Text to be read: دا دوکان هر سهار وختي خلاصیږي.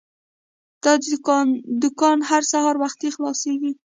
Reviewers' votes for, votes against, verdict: 0, 2, rejected